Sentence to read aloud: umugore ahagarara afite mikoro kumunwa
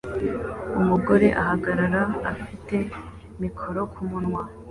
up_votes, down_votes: 2, 0